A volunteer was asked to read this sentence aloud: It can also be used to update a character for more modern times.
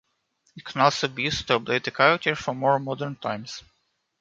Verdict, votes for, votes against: rejected, 0, 2